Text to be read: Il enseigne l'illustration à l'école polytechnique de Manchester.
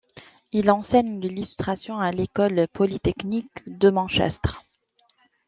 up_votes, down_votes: 0, 2